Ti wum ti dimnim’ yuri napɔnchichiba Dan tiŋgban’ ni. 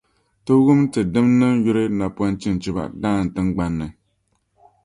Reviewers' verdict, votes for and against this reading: rejected, 0, 2